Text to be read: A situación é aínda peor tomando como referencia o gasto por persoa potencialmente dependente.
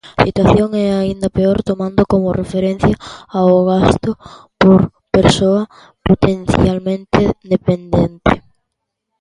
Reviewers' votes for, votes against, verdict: 0, 2, rejected